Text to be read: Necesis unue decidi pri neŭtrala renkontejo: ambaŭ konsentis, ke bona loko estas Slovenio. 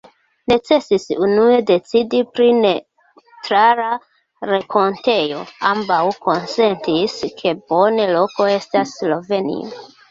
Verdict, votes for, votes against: accepted, 2, 1